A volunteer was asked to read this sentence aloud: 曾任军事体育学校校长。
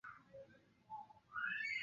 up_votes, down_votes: 2, 3